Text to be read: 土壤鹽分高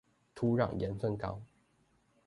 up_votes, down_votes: 2, 0